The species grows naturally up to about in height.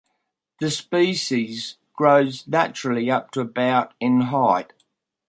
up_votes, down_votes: 2, 0